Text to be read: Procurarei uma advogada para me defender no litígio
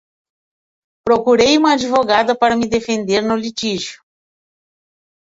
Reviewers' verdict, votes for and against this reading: rejected, 1, 2